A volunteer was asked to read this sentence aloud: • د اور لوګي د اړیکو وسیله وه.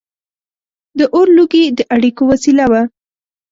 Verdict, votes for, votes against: accepted, 2, 0